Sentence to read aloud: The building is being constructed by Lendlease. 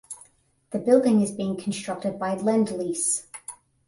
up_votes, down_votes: 10, 0